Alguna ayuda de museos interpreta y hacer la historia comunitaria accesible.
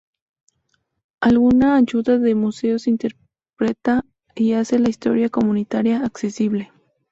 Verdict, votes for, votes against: accepted, 2, 0